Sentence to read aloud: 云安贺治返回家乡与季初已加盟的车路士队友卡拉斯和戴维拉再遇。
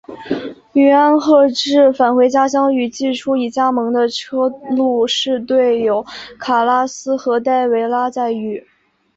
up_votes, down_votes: 2, 0